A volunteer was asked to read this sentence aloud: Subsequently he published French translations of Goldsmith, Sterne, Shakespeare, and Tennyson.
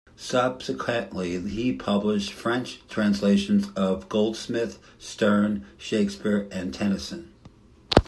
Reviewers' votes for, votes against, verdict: 2, 0, accepted